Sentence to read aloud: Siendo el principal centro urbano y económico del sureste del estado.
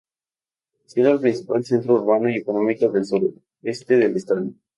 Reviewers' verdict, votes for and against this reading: rejected, 0, 2